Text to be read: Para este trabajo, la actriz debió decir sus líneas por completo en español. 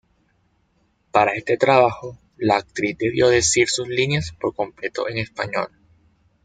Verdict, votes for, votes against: rejected, 0, 2